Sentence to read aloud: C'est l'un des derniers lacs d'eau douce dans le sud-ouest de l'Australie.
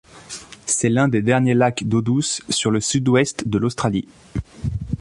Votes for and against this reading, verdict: 0, 2, rejected